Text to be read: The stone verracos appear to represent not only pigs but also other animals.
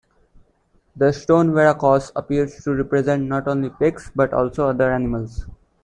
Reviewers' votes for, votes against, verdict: 0, 2, rejected